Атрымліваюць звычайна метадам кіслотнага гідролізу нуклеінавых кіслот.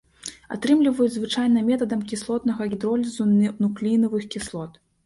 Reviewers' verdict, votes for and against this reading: rejected, 0, 2